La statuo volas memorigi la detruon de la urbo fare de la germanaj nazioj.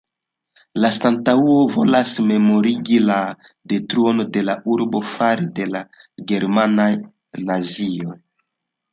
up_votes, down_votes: 1, 3